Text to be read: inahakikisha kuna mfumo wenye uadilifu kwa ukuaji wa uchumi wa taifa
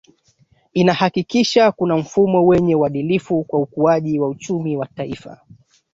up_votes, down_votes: 2, 1